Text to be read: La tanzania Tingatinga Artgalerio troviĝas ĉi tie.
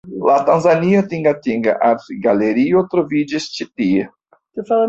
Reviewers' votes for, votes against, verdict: 1, 2, rejected